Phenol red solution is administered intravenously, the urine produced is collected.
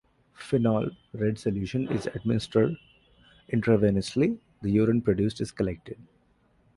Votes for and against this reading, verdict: 2, 1, accepted